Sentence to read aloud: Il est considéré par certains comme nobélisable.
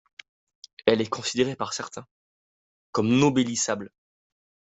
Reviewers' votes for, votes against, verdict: 0, 2, rejected